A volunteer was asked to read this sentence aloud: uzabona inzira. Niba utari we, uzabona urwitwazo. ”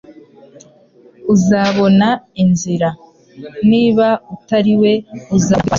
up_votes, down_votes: 1, 2